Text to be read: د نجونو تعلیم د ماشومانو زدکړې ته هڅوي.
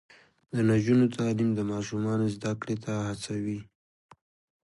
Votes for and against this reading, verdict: 2, 0, accepted